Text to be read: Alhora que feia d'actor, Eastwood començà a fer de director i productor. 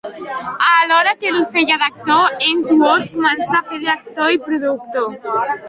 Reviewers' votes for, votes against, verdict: 1, 2, rejected